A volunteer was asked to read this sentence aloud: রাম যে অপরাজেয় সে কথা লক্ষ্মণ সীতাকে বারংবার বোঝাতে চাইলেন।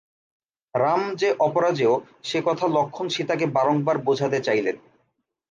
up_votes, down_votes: 10, 0